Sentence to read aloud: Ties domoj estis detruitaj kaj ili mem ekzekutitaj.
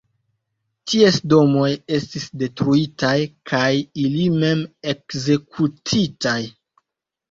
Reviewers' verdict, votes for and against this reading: rejected, 1, 2